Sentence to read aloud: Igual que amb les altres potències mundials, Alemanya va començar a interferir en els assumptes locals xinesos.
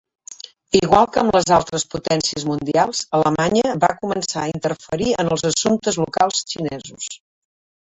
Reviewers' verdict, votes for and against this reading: accepted, 3, 0